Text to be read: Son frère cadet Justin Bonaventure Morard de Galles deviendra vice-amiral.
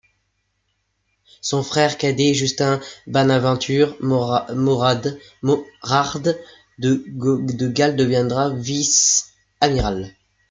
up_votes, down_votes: 0, 2